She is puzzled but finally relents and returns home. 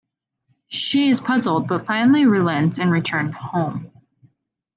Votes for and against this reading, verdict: 2, 0, accepted